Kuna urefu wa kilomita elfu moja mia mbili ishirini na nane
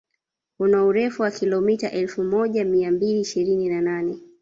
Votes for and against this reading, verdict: 1, 2, rejected